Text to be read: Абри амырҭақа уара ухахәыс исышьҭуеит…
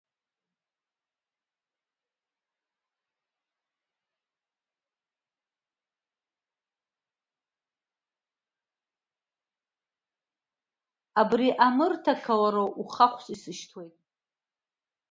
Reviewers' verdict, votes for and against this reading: rejected, 0, 2